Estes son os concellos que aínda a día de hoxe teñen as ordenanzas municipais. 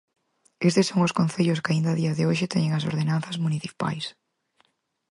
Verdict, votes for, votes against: accepted, 4, 0